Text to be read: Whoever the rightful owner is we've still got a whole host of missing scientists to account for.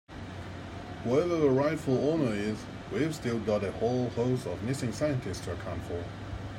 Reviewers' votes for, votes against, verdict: 2, 0, accepted